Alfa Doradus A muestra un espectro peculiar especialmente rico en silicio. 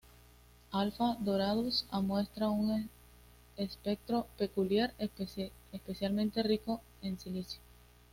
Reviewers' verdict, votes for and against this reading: rejected, 1, 2